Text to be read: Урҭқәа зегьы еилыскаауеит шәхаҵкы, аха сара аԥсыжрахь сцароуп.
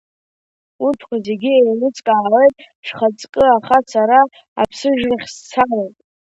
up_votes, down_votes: 0, 2